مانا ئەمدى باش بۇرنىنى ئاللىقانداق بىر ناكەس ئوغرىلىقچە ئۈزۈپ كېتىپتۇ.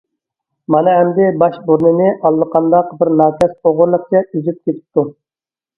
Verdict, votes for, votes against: accepted, 2, 0